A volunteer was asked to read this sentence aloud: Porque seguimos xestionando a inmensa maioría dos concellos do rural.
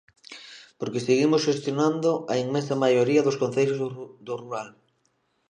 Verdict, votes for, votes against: rejected, 0, 2